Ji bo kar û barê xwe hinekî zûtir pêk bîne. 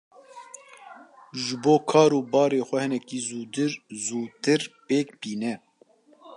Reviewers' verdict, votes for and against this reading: rejected, 0, 2